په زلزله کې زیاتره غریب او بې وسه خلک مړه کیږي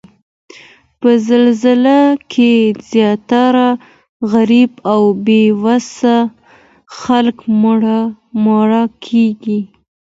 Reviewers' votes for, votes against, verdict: 2, 1, accepted